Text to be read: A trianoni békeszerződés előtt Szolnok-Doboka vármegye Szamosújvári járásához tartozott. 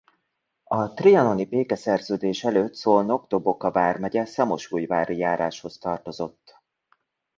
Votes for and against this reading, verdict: 1, 2, rejected